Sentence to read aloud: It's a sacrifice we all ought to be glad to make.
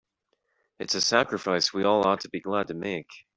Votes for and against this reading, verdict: 3, 0, accepted